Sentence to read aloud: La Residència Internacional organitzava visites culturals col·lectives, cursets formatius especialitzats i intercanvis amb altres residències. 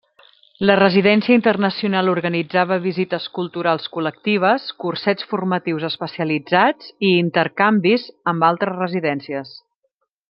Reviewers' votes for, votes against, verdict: 2, 0, accepted